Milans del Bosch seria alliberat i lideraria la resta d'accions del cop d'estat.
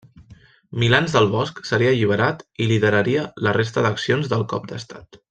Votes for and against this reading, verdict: 2, 0, accepted